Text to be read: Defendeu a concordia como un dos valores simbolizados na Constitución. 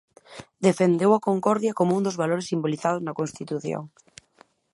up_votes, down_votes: 2, 0